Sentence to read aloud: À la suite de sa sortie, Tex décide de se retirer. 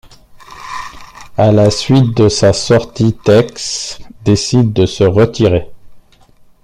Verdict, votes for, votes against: rejected, 0, 2